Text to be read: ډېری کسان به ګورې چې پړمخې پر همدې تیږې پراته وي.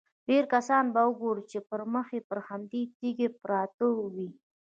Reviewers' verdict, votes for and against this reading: accepted, 2, 0